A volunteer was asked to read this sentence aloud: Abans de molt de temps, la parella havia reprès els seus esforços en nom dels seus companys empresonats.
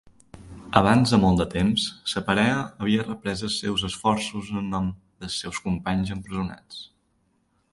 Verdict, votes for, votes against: rejected, 0, 2